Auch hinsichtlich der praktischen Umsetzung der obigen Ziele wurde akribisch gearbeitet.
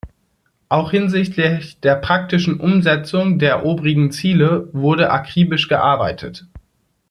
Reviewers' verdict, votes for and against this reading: rejected, 0, 2